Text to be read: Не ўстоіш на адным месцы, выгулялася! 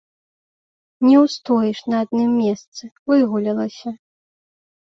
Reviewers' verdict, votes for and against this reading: accepted, 2, 0